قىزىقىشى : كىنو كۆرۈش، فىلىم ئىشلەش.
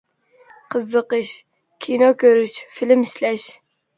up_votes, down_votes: 0, 2